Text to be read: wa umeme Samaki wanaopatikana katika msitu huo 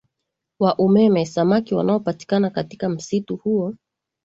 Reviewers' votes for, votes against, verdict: 2, 0, accepted